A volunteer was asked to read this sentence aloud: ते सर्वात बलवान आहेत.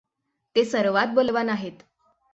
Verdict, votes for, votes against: accepted, 6, 0